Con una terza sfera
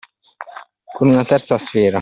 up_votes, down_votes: 2, 0